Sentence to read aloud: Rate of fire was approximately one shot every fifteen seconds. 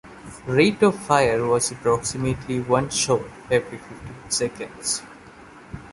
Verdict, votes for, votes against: rejected, 0, 2